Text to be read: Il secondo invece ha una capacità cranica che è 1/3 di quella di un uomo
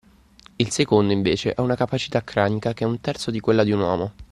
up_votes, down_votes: 0, 2